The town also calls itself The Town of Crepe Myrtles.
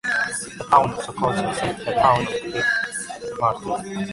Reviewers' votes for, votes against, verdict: 0, 2, rejected